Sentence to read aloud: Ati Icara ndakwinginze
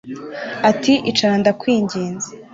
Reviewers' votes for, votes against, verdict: 2, 0, accepted